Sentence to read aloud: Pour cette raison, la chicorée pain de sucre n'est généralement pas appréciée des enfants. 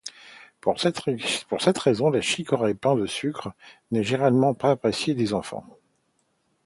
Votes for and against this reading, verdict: 0, 2, rejected